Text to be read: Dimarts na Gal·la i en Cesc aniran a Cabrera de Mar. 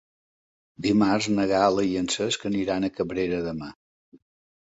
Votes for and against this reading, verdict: 1, 2, rejected